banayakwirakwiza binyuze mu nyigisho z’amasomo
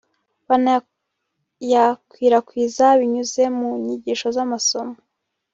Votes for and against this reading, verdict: 1, 2, rejected